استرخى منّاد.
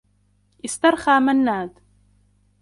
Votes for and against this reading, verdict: 0, 2, rejected